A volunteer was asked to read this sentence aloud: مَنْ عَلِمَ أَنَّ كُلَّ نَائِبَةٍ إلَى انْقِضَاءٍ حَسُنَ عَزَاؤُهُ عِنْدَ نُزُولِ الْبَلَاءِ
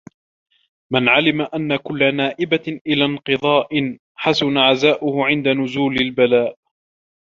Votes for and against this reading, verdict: 2, 0, accepted